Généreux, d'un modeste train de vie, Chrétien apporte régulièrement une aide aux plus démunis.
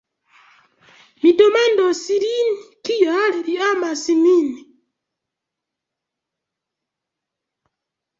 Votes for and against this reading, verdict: 0, 3, rejected